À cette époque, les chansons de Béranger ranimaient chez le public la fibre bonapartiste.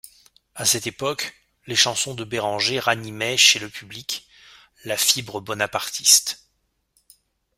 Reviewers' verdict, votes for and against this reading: accepted, 2, 0